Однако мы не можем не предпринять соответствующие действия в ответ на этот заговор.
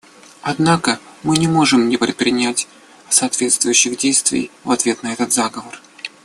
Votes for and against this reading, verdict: 2, 1, accepted